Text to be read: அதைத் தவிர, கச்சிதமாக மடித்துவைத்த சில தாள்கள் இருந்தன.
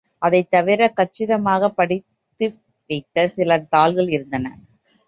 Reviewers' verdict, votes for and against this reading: rejected, 0, 2